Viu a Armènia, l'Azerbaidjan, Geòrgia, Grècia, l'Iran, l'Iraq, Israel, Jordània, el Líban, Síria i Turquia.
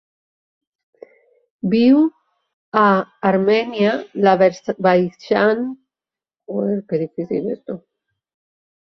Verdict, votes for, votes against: rejected, 0, 2